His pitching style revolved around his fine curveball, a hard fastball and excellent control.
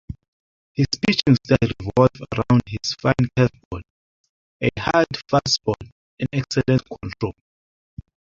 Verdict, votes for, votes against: rejected, 1, 2